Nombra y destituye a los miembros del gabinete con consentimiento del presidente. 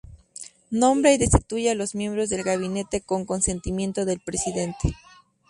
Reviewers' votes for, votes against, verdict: 6, 2, accepted